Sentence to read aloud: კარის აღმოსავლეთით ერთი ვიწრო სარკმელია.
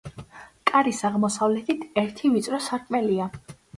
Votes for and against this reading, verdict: 2, 0, accepted